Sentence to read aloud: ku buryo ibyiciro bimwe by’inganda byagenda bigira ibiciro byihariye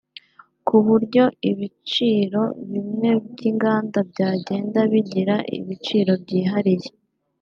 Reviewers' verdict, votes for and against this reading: rejected, 0, 3